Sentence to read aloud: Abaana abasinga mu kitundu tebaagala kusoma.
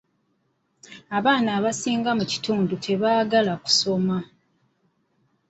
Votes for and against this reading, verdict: 2, 0, accepted